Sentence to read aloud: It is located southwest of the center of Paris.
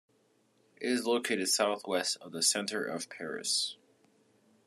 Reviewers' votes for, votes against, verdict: 2, 0, accepted